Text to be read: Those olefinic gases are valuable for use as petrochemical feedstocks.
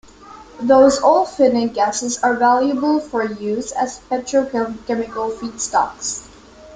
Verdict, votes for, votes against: rejected, 1, 2